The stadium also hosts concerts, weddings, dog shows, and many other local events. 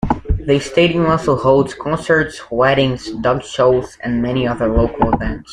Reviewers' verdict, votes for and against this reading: accepted, 2, 0